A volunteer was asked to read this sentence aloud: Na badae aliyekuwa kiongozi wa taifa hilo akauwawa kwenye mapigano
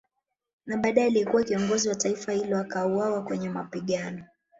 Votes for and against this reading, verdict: 0, 2, rejected